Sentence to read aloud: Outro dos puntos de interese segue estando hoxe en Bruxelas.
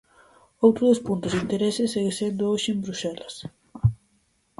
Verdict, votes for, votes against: rejected, 0, 4